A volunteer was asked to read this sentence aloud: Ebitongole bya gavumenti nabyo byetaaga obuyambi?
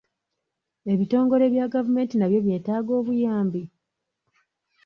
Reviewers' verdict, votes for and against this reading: accepted, 2, 0